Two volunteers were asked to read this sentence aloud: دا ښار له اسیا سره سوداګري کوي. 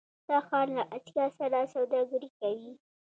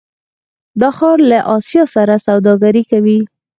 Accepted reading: second